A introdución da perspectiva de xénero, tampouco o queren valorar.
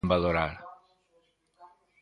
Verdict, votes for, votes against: rejected, 0, 2